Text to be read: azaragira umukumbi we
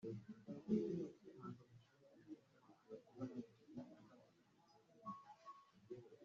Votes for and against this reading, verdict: 1, 3, rejected